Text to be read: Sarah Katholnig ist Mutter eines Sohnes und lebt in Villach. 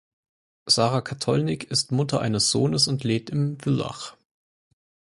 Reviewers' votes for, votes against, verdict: 4, 0, accepted